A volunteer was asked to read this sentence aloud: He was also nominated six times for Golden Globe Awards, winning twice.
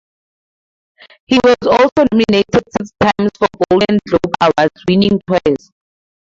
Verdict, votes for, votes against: rejected, 0, 2